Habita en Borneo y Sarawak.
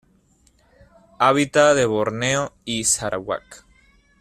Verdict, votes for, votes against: rejected, 1, 2